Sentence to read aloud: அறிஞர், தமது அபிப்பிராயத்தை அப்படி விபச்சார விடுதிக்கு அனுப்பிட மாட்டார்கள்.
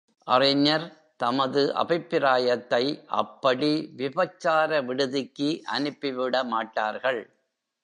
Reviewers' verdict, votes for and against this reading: rejected, 1, 2